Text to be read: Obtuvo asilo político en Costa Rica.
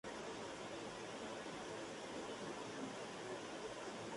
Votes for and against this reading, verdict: 0, 2, rejected